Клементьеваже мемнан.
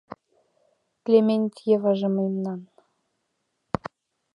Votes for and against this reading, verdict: 2, 0, accepted